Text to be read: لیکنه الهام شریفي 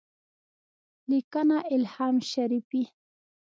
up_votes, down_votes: 2, 1